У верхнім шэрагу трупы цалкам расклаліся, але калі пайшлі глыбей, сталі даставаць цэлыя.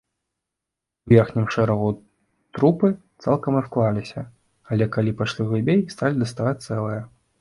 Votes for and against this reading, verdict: 0, 2, rejected